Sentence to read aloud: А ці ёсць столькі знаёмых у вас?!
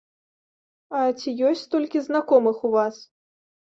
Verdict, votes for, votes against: rejected, 1, 2